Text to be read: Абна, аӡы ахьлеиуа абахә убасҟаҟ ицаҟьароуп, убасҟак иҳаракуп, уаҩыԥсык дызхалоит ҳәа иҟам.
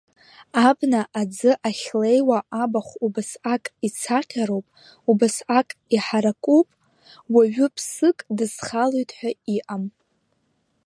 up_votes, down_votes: 1, 2